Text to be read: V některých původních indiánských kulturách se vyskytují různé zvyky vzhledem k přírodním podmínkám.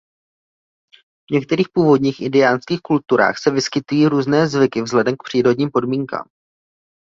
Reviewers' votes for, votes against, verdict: 0, 2, rejected